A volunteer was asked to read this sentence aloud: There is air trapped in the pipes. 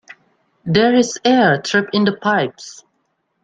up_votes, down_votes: 2, 1